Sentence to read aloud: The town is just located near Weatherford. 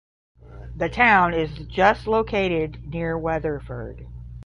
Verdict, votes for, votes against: accepted, 5, 0